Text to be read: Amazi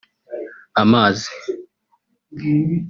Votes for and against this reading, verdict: 1, 2, rejected